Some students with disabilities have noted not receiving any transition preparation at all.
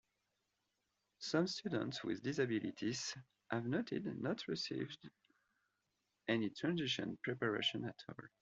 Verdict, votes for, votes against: accepted, 2, 1